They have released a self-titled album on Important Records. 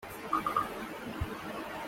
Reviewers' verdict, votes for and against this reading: rejected, 0, 2